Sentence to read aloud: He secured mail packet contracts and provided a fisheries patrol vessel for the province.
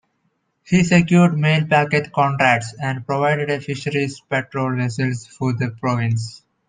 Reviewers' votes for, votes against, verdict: 0, 2, rejected